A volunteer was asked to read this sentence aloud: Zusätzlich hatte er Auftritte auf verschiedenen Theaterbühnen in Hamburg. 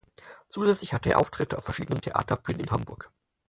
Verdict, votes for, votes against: rejected, 2, 4